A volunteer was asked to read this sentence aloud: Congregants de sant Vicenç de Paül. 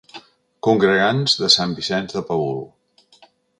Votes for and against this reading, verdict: 0, 2, rejected